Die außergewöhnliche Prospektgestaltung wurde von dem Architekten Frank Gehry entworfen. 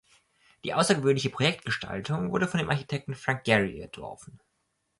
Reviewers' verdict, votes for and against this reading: rejected, 2, 3